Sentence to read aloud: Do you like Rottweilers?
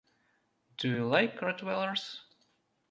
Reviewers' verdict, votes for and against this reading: rejected, 1, 2